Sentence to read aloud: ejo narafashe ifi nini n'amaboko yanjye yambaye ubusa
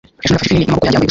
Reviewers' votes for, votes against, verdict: 1, 2, rejected